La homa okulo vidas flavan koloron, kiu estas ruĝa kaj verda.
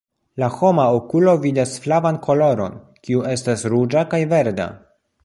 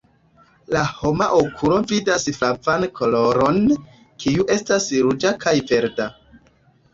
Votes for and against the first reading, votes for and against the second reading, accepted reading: 2, 0, 1, 2, first